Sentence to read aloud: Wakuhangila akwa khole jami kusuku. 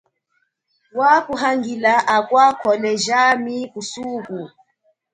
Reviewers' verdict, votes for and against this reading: accepted, 2, 0